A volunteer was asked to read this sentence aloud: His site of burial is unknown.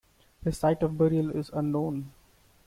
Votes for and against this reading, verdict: 2, 0, accepted